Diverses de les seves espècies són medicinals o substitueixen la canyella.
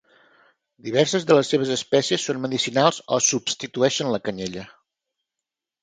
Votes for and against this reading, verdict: 4, 0, accepted